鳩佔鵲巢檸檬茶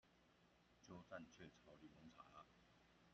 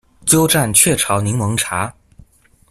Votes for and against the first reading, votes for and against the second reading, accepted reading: 0, 2, 2, 0, second